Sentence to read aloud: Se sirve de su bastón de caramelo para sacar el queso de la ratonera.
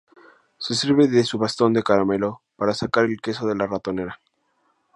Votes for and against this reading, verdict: 4, 0, accepted